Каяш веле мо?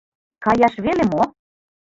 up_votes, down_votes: 2, 1